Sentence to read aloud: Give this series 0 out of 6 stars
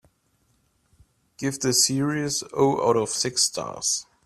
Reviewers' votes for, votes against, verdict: 0, 2, rejected